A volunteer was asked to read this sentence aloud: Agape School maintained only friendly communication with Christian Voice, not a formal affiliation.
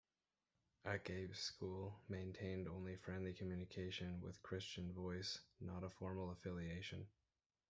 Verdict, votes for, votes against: rejected, 1, 2